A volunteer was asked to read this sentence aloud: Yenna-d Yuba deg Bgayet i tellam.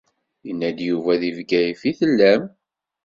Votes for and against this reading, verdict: 2, 0, accepted